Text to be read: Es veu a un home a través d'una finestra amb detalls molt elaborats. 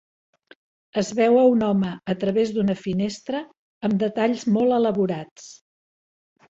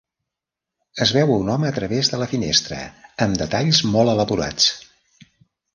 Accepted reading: first